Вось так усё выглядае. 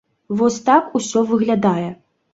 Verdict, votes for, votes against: accepted, 2, 0